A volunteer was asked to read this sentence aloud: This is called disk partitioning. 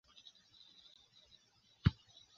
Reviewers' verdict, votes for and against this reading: rejected, 0, 3